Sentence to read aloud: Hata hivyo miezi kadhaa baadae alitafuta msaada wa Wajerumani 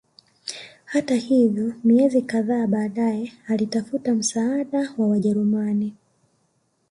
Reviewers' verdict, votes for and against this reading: rejected, 1, 2